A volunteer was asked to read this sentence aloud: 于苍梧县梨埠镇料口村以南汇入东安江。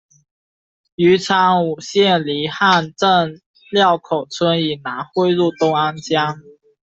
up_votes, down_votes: 0, 2